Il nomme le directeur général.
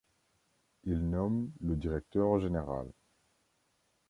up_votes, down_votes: 2, 0